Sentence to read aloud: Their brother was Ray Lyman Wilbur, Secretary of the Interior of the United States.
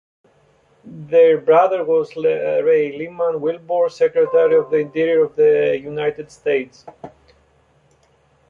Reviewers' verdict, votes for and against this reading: rejected, 0, 2